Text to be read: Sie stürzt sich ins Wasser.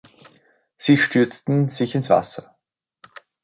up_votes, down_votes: 0, 2